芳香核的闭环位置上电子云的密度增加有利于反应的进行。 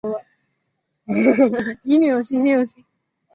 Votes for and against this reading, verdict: 0, 2, rejected